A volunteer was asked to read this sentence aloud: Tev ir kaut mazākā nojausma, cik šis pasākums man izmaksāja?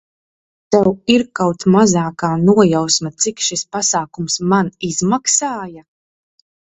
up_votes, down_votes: 2, 0